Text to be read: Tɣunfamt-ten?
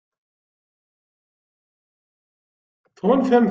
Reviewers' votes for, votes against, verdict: 0, 2, rejected